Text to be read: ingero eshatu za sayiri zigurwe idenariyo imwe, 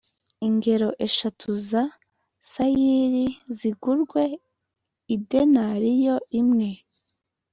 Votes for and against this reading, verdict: 2, 0, accepted